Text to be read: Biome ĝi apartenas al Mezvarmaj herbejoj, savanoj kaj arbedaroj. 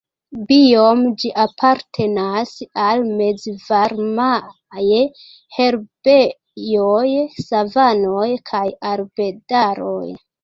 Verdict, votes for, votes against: rejected, 1, 4